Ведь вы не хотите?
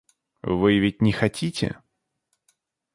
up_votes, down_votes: 0, 2